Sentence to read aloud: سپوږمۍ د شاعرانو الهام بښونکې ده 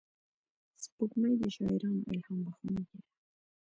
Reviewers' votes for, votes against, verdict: 2, 0, accepted